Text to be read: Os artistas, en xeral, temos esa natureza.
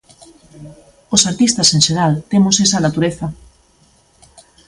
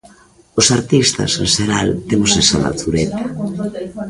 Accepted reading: first